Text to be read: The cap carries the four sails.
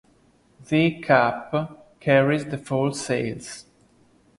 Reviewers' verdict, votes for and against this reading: rejected, 0, 2